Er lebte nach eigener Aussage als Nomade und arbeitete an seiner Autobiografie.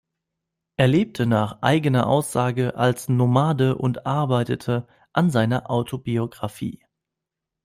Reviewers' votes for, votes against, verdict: 2, 0, accepted